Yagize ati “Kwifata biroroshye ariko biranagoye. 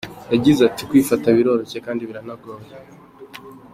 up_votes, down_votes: 2, 0